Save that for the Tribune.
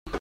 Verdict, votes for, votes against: rejected, 0, 2